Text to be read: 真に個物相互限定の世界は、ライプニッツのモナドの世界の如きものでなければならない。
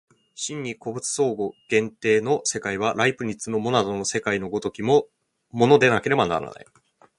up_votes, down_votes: 1, 2